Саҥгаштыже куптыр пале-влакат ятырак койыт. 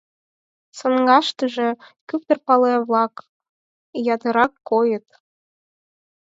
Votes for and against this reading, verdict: 4, 2, accepted